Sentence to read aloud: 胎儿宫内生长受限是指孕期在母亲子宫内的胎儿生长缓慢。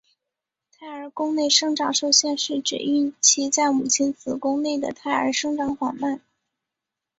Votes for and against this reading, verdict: 5, 0, accepted